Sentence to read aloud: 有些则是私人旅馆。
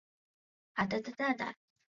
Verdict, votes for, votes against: rejected, 1, 2